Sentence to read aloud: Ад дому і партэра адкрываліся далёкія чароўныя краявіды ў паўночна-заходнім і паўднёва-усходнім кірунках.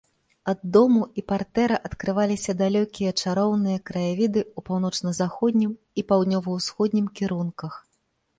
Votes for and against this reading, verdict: 2, 0, accepted